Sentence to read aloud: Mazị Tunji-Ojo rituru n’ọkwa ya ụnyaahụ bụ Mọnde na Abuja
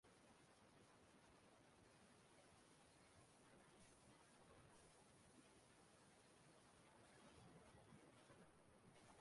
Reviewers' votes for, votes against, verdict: 0, 2, rejected